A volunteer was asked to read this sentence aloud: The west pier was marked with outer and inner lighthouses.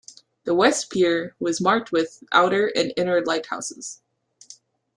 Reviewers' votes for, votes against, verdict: 2, 0, accepted